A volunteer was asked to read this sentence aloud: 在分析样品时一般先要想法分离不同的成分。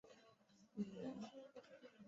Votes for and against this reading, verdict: 0, 2, rejected